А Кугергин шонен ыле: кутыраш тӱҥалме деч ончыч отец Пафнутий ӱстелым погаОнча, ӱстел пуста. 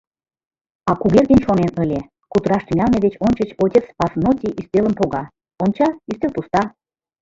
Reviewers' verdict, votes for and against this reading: rejected, 1, 2